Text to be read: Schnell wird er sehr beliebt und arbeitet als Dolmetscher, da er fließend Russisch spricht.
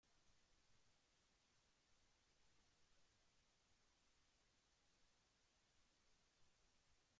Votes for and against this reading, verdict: 0, 2, rejected